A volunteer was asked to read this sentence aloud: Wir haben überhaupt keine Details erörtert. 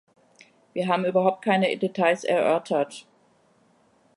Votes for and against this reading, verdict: 1, 2, rejected